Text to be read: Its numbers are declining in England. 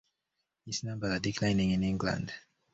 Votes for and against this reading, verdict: 0, 2, rejected